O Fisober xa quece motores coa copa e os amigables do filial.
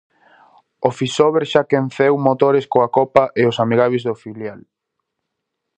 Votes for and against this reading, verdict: 0, 2, rejected